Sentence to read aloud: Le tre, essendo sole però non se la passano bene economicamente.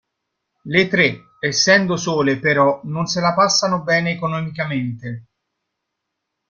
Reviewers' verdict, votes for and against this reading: rejected, 0, 2